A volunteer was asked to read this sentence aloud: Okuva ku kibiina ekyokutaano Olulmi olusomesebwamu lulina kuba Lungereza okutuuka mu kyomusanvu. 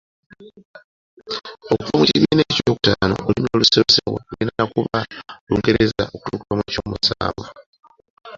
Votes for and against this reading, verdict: 2, 0, accepted